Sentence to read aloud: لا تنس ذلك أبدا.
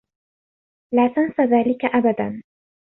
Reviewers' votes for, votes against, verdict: 2, 0, accepted